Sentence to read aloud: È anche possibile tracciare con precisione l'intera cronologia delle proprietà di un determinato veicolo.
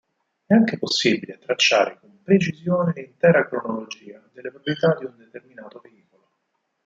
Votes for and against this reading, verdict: 0, 4, rejected